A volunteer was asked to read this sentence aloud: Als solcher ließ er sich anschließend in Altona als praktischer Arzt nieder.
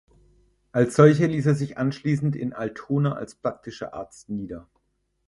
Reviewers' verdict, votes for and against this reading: rejected, 2, 4